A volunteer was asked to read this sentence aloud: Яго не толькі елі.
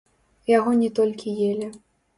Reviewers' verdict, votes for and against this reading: rejected, 1, 2